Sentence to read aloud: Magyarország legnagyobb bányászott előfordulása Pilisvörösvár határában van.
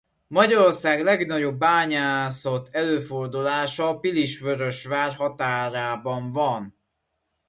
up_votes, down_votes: 2, 0